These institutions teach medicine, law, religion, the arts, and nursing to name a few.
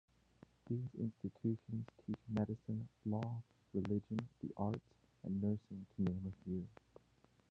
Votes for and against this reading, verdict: 0, 2, rejected